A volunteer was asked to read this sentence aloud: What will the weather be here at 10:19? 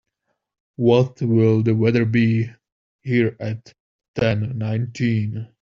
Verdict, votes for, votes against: rejected, 0, 2